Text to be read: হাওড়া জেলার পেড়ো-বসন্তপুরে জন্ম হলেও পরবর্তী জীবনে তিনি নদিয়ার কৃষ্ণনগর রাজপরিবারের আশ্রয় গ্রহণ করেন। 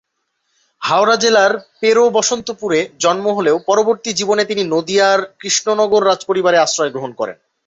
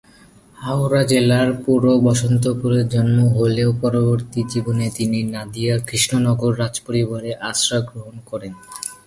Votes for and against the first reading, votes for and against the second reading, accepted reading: 2, 0, 1, 2, first